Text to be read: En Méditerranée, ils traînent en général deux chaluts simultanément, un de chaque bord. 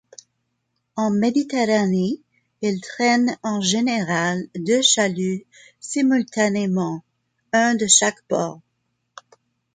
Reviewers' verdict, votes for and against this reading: accepted, 2, 0